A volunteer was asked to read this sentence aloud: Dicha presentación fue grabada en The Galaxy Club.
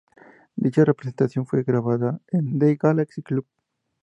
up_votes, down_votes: 2, 0